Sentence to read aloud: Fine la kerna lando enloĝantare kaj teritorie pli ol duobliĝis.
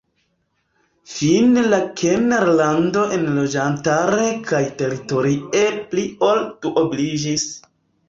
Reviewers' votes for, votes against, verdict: 2, 1, accepted